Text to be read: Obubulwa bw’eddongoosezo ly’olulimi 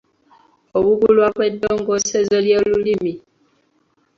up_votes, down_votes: 2, 0